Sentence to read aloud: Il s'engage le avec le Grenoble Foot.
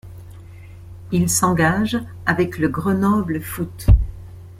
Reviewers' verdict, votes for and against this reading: rejected, 0, 2